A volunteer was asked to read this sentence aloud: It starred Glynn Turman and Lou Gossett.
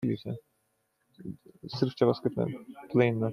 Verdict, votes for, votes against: rejected, 0, 2